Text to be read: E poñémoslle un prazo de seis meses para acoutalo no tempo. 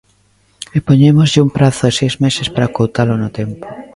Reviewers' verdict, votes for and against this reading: accepted, 2, 0